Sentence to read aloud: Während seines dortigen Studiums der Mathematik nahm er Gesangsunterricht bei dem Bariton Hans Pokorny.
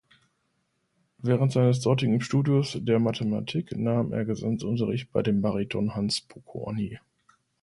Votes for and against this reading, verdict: 1, 2, rejected